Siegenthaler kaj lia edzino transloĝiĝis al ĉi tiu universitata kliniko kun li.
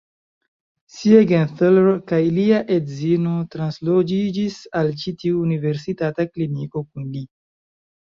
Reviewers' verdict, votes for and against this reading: accepted, 2, 0